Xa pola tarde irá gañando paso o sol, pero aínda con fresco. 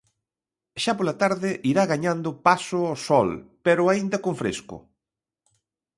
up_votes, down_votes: 2, 0